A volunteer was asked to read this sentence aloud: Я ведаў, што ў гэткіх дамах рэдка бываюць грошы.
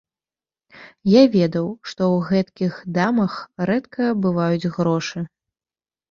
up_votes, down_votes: 1, 2